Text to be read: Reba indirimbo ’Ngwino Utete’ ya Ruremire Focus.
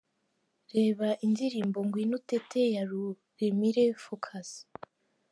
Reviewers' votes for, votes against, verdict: 2, 1, accepted